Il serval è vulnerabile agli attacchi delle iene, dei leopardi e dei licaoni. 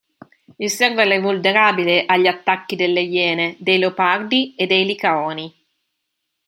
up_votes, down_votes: 2, 0